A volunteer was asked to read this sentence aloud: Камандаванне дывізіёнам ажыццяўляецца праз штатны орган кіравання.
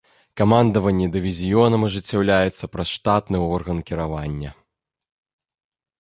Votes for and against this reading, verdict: 2, 0, accepted